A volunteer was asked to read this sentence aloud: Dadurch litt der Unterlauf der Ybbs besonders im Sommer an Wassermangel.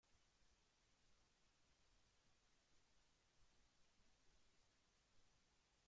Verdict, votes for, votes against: rejected, 0, 2